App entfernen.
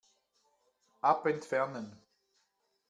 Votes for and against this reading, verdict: 1, 2, rejected